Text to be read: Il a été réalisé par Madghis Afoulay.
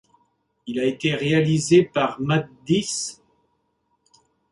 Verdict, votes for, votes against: rejected, 0, 2